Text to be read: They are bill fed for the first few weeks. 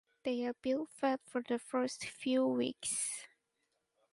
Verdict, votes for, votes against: accepted, 4, 0